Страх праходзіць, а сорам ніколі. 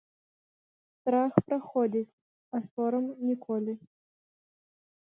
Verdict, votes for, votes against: rejected, 0, 2